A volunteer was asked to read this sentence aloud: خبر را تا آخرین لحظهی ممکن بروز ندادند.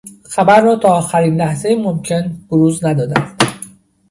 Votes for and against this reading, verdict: 0, 2, rejected